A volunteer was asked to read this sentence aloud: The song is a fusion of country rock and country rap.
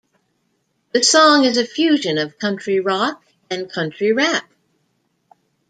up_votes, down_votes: 2, 0